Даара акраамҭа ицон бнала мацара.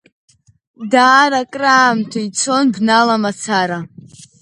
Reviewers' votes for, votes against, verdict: 2, 0, accepted